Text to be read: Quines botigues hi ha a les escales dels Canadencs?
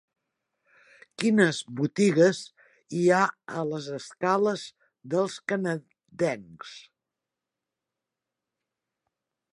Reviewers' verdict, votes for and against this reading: rejected, 1, 2